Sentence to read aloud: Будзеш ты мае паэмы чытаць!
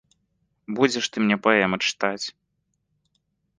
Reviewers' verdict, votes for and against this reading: rejected, 0, 2